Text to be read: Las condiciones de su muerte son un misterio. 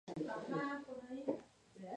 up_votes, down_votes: 2, 2